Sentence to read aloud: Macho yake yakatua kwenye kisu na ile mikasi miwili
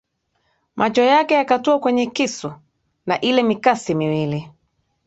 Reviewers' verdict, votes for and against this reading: rejected, 1, 2